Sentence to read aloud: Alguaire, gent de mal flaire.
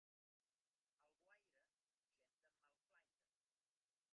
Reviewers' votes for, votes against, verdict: 1, 2, rejected